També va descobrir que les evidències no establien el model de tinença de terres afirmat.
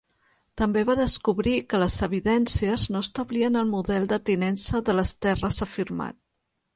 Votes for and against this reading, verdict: 0, 2, rejected